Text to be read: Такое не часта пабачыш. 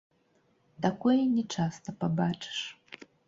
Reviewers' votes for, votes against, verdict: 1, 2, rejected